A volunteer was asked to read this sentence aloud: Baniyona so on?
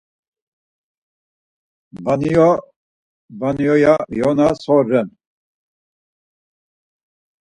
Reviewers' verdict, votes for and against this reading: rejected, 0, 4